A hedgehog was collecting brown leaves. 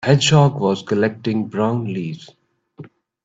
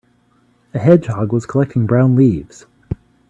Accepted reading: second